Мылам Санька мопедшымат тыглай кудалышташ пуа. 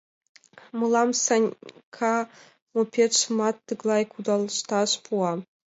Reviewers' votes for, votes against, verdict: 1, 2, rejected